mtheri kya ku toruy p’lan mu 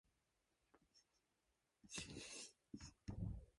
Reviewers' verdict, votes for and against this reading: rejected, 1, 2